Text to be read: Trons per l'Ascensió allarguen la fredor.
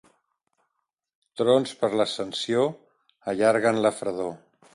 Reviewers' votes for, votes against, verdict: 2, 0, accepted